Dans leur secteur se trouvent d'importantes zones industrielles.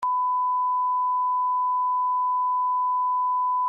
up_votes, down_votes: 0, 2